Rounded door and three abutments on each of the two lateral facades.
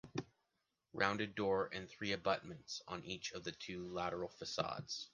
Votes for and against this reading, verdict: 2, 1, accepted